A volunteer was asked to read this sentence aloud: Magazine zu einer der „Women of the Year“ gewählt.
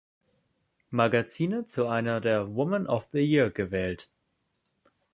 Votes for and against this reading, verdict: 2, 0, accepted